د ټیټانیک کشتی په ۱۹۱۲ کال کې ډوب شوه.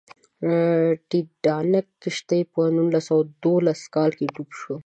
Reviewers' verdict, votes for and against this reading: rejected, 0, 2